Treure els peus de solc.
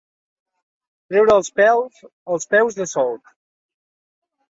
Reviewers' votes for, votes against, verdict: 1, 3, rejected